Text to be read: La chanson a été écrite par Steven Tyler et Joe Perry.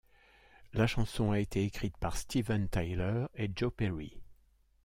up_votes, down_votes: 2, 0